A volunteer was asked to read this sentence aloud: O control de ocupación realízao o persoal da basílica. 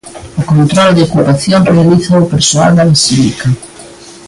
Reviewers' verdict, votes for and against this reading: accepted, 2, 0